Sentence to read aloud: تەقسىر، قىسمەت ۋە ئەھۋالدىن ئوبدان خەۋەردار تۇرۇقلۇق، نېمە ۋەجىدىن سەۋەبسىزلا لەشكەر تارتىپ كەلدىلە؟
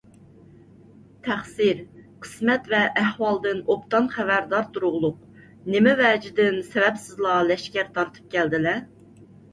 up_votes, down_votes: 2, 0